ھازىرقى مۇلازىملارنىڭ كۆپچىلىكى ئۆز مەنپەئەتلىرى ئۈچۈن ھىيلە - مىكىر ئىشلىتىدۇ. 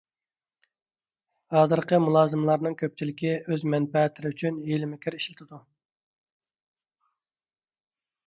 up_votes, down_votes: 2, 0